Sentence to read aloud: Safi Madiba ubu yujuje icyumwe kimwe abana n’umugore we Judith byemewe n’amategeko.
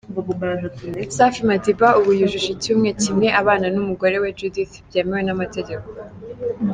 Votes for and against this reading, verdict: 2, 1, accepted